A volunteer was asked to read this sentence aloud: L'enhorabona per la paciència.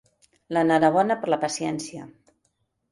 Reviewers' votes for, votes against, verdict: 2, 0, accepted